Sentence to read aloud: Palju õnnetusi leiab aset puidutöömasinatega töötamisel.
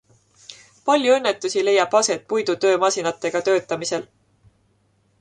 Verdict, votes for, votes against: accepted, 2, 0